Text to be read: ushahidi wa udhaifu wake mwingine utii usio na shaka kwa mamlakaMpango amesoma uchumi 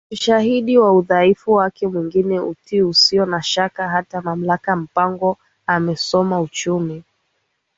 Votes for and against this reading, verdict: 1, 2, rejected